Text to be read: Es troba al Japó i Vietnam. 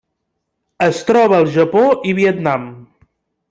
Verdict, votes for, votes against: accepted, 3, 0